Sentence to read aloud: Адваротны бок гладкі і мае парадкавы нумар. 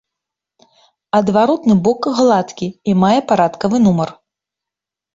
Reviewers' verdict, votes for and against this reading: accepted, 2, 0